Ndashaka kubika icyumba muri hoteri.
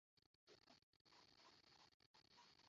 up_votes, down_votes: 0, 2